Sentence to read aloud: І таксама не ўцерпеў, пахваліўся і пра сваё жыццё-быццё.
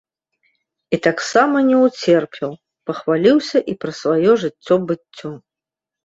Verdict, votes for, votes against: rejected, 1, 2